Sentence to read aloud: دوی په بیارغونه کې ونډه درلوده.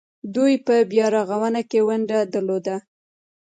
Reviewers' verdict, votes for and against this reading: rejected, 0, 2